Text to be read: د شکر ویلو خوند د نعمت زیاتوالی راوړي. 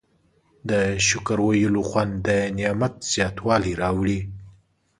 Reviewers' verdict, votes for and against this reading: accepted, 4, 0